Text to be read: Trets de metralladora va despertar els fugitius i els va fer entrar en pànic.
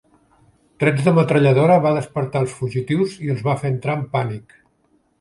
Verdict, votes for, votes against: accepted, 3, 1